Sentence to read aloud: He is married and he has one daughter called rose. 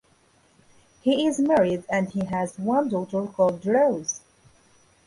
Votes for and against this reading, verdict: 2, 0, accepted